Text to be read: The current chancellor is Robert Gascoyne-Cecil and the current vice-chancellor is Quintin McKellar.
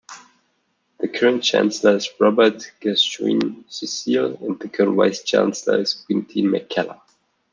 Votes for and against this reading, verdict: 2, 0, accepted